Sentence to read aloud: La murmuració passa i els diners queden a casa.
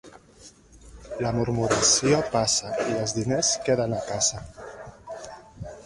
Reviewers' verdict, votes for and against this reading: rejected, 1, 3